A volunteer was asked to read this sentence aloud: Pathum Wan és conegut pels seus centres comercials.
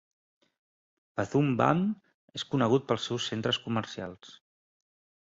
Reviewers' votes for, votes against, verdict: 1, 2, rejected